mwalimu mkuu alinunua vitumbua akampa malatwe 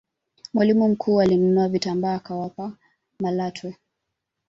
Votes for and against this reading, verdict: 1, 2, rejected